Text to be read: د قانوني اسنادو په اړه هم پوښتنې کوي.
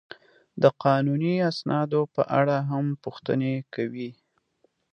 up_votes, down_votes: 2, 0